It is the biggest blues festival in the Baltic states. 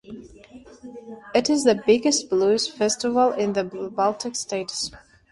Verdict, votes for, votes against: accepted, 2, 0